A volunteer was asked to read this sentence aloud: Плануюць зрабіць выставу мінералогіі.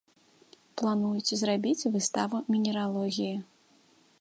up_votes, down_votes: 2, 0